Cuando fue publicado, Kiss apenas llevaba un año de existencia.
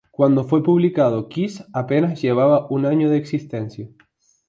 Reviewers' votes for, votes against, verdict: 2, 2, rejected